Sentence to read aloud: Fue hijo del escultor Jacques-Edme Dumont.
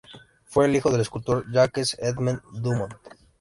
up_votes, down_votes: 0, 2